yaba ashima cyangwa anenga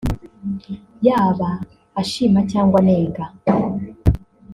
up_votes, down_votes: 1, 2